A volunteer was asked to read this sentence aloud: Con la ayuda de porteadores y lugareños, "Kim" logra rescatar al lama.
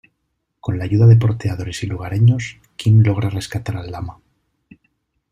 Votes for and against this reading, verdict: 2, 0, accepted